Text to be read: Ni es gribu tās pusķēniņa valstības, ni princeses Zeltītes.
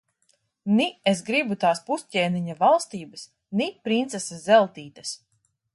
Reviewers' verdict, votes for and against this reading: accepted, 2, 0